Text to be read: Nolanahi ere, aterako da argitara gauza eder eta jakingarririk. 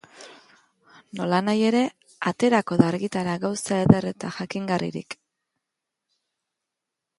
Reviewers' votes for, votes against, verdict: 2, 0, accepted